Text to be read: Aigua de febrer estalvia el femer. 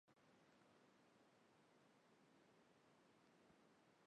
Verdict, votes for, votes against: rejected, 0, 2